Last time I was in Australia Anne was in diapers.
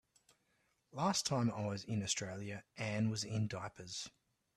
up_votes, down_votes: 2, 0